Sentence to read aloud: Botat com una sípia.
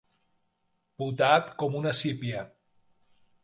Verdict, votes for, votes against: rejected, 1, 2